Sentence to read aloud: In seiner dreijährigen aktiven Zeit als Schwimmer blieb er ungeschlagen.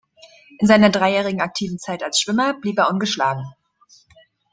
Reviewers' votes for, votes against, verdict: 2, 0, accepted